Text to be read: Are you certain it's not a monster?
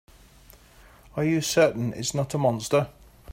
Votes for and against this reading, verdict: 2, 0, accepted